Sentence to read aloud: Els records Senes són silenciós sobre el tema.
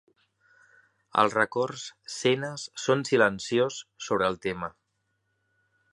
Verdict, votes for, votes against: accepted, 2, 0